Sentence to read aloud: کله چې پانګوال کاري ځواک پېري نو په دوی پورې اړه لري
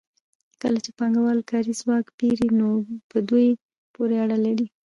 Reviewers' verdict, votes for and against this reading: rejected, 1, 2